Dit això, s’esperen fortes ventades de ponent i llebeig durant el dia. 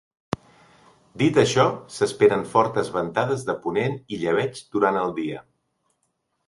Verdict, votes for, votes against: accepted, 3, 0